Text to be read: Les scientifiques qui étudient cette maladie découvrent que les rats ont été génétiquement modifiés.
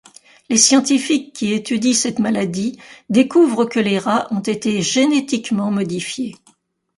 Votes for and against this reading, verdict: 2, 0, accepted